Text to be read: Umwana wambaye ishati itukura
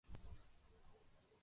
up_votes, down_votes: 1, 2